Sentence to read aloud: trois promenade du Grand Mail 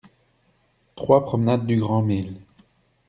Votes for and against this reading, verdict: 0, 2, rejected